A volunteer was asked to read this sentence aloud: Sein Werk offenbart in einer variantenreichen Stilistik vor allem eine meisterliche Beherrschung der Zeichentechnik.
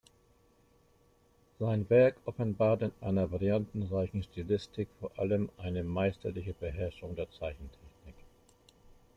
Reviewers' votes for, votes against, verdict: 1, 2, rejected